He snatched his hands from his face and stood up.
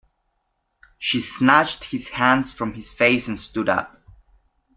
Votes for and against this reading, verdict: 0, 2, rejected